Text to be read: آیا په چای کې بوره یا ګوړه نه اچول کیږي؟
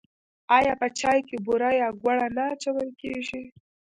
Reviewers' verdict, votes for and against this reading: accepted, 2, 0